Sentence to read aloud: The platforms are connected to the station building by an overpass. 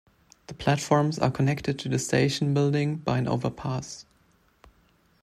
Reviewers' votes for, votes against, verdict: 2, 0, accepted